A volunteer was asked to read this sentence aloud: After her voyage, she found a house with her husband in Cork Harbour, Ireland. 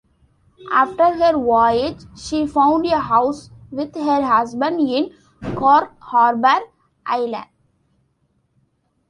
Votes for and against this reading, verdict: 2, 1, accepted